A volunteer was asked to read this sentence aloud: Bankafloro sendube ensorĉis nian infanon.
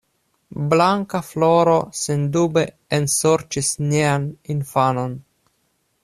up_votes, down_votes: 0, 2